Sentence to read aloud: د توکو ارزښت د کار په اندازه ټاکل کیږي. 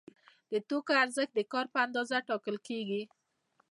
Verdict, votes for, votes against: accepted, 2, 0